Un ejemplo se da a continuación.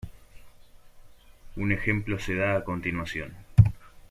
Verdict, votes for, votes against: accepted, 2, 0